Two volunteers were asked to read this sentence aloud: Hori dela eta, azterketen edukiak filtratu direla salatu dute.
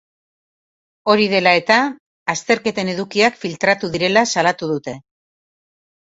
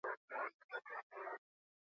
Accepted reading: first